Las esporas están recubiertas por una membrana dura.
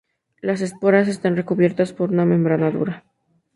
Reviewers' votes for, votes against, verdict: 2, 0, accepted